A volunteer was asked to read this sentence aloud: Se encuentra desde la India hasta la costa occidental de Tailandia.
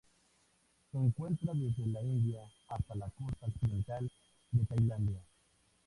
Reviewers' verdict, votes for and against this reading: accepted, 2, 0